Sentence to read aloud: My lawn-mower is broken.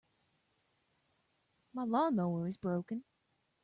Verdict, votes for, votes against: accepted, 2, 0